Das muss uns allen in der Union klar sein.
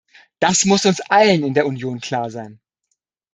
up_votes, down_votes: 2, 0